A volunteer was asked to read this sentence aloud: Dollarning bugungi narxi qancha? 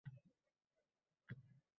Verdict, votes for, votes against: rejected, 0, 2